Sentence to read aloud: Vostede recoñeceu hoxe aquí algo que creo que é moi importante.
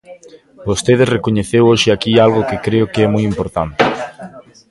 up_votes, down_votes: 1, 2